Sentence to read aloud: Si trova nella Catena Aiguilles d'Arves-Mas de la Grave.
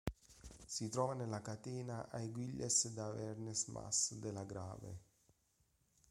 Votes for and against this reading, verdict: 1, 2, rejected